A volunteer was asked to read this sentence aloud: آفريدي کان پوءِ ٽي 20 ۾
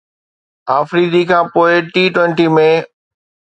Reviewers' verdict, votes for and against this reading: rejected, 0, 2